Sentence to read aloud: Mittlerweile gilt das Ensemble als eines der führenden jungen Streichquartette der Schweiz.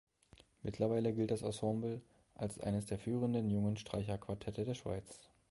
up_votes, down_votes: 0, 3